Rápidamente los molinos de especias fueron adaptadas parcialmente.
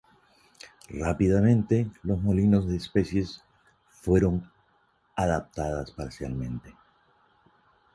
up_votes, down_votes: 0, 2